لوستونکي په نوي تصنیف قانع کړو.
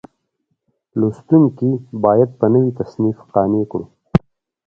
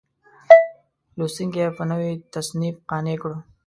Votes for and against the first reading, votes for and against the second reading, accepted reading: 2, 0, 1, 2, first